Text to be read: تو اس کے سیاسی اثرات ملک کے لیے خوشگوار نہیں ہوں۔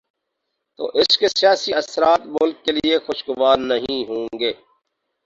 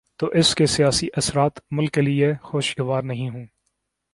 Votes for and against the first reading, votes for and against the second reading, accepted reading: 0, 2, 2, 0, second